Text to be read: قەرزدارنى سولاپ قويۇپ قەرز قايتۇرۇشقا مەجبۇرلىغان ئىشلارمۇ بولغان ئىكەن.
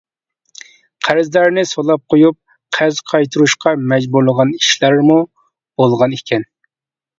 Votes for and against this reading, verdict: 2, 1, accepted